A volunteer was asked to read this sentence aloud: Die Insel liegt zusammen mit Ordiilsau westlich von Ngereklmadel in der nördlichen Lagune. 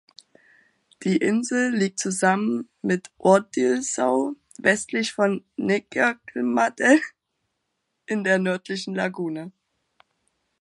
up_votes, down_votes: 1, 2